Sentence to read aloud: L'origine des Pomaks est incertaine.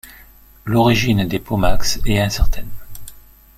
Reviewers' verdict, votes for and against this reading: rejected, 1, 2